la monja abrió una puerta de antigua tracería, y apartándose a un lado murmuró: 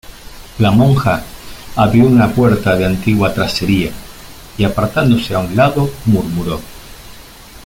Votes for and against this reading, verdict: 2, 0, accepted